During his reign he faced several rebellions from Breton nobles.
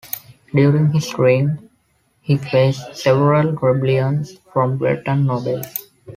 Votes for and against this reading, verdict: 2, 1, accepted